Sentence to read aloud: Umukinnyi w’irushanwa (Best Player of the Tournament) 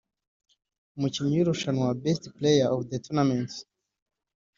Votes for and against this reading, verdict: 3, 1, accepted